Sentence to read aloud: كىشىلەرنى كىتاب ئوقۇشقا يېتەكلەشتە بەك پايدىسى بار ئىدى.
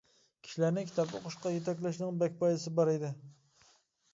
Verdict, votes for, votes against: rejected, 0, 2